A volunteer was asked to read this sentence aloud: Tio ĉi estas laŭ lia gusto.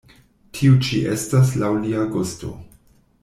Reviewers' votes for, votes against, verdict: 2, 0, accepted